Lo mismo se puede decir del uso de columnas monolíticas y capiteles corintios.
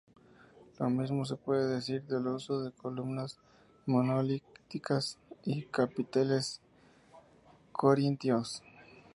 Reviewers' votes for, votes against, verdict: 2, 0, accepted